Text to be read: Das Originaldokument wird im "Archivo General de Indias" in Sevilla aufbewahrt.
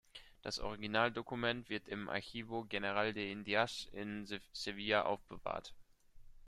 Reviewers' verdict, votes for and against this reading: rejected, 1, 2